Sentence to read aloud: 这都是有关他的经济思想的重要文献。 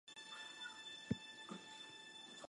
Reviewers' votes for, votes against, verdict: 0, 3, rejected